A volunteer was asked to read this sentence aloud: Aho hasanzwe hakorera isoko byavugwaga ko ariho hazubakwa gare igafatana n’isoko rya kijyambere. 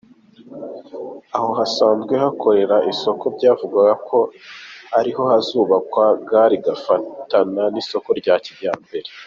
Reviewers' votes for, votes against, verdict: 3, 1, accepted